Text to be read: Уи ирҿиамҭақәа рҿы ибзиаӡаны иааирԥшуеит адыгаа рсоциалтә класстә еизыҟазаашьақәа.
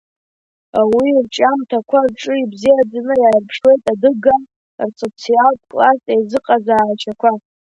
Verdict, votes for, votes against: accepted, 2, 1